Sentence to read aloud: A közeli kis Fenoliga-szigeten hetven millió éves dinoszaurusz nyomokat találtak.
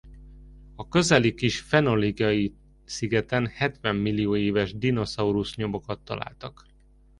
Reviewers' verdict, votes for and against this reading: rejected, 0, 2